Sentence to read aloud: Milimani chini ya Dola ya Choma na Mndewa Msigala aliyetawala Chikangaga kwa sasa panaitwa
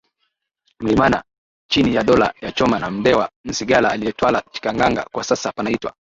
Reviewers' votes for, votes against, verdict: 4, 3, accepted